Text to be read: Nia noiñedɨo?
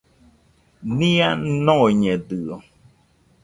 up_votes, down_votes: 1, 2